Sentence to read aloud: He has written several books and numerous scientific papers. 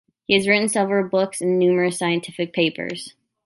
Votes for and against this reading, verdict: 3, 0, accepted